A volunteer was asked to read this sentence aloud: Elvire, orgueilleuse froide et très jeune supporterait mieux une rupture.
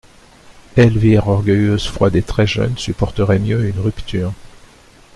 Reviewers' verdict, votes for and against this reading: accepted, 2, 0